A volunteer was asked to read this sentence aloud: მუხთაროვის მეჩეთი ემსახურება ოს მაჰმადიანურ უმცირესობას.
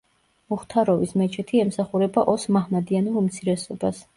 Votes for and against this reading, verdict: 2, 0, accepted